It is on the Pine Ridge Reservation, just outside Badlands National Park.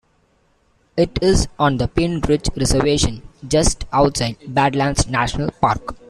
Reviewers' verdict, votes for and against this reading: rejected, 0, 2